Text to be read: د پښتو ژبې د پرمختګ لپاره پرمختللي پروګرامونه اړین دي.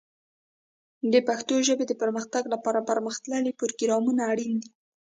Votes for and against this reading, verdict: 1, 2, rejected